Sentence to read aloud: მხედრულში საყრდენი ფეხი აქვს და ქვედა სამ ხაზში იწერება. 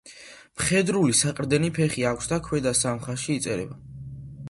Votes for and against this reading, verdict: 0, 2, rejected